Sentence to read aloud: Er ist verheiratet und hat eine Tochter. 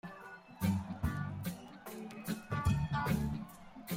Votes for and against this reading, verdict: 0, 2, rejected